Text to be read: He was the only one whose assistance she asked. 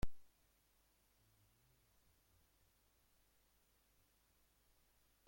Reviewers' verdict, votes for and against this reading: rejected, 0, 2